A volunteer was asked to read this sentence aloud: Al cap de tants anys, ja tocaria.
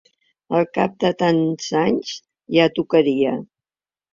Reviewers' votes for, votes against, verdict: 2, 0, accepted